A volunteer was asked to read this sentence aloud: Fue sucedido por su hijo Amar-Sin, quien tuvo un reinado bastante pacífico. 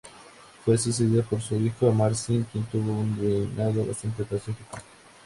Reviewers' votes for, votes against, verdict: 2, 0, accepted